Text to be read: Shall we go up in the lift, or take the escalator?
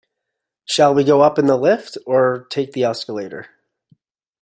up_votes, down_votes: 2, 0